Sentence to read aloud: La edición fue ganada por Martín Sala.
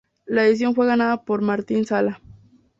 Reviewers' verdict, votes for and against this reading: accepted, 2, 0